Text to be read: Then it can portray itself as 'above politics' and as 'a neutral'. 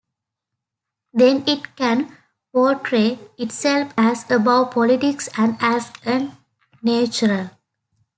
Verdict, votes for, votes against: accepted, 2, 1